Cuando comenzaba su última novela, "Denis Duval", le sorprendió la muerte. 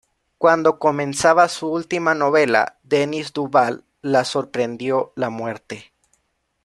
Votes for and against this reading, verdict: 1, 2, rejected